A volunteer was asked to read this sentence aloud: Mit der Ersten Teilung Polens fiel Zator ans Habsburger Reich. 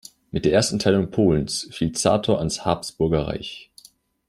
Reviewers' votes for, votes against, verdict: 2, 0, accepted